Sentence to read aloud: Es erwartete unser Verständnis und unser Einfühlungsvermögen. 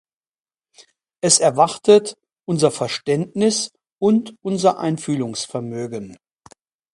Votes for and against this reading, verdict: 0, 2, rejected